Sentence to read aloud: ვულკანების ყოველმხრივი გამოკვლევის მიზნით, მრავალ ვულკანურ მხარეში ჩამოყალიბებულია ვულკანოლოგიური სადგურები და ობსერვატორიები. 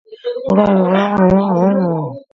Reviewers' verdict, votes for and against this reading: rejected, 0, 2